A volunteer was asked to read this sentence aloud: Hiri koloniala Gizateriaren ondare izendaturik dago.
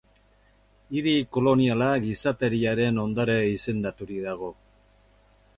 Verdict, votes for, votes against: accepted, 2, 0